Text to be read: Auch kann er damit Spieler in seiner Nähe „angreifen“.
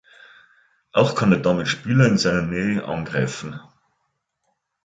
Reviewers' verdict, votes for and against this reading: accepted, 3, 0